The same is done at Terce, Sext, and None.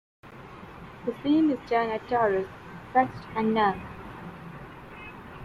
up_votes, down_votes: 2, 0